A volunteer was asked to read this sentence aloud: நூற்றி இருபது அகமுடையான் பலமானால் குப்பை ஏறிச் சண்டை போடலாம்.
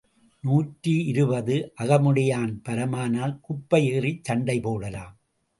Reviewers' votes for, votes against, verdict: 2, 0, accepted